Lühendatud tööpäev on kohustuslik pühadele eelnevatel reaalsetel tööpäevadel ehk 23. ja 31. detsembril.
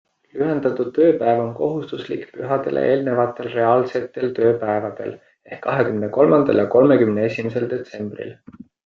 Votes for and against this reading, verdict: 0, 2, rejected